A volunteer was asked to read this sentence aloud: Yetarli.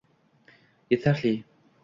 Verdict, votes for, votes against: accepted, 2, 0